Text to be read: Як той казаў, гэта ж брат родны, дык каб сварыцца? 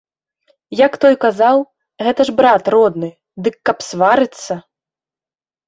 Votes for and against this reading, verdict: 2, 3, rejected